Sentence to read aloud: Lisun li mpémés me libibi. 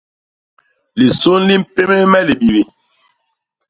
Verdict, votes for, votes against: rejected, 0, 2